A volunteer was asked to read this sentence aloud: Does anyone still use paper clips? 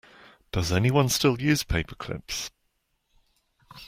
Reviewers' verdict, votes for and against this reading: accepted, 2, 0